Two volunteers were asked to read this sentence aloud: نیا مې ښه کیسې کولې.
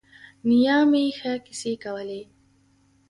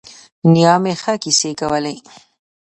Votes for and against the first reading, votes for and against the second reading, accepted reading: 2, 0, 0, 2, first